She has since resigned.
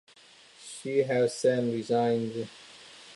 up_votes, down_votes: 0, 2